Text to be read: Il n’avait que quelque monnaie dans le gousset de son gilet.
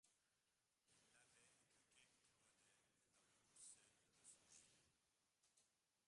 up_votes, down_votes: 0, 2